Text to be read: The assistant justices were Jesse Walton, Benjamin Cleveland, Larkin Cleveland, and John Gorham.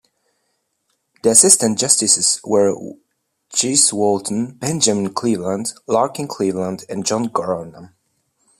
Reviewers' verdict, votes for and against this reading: rejected, 0, 2